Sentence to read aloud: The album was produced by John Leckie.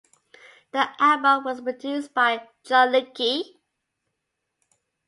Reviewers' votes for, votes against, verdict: 2, 0, accepted